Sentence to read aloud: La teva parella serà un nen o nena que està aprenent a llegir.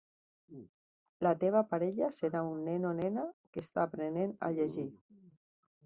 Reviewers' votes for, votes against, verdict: 4, 0, accepted